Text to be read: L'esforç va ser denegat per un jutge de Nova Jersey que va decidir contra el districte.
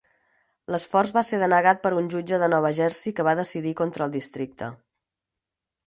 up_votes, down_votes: 4, 0